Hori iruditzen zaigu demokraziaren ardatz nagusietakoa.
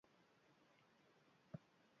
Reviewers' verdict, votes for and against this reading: rejected, 0, 2